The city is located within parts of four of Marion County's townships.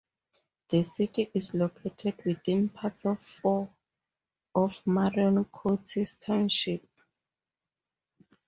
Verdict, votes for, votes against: rejected, 0, 4